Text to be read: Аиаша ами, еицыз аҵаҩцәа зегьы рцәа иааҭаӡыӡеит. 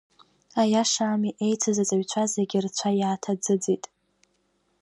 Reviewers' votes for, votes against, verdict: 2, 0, accepted